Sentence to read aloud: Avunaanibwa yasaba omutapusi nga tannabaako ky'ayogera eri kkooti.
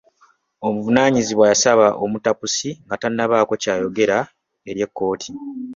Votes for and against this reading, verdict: 1, 2, rejected